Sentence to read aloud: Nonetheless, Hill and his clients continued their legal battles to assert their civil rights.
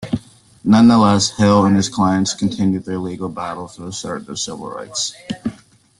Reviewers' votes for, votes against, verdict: 2, 0, accepted